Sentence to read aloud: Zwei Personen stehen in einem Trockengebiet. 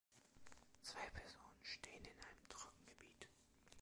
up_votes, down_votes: 1, 2